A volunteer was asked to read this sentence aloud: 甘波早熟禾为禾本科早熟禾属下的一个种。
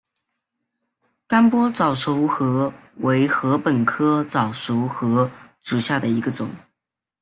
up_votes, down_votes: 2, 0